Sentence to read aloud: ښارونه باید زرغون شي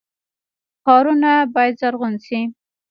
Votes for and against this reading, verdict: 1, 2, rejected